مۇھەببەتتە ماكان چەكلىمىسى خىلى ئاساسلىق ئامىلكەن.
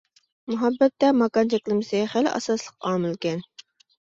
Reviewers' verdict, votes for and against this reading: accepted, 2, 0